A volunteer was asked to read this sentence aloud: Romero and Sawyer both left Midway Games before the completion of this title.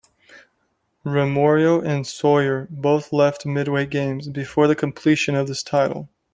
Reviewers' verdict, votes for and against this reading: accepted, 2, 1